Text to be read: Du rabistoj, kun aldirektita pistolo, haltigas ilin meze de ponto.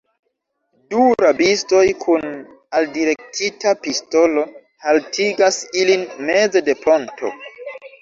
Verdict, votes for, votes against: rejected, 1, 2